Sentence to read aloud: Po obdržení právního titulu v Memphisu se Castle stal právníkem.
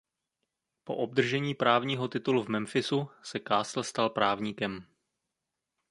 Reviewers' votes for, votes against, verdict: 2, 0, accepted